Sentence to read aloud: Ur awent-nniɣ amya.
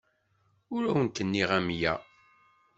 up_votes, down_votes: 2, 0